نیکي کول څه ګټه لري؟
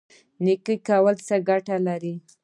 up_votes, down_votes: 2, 1